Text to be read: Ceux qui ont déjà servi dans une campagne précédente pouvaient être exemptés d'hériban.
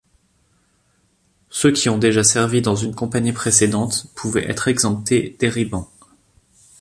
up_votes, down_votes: 2, 0